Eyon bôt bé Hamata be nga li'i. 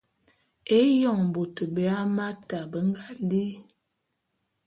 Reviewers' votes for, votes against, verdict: 1, 2, rejected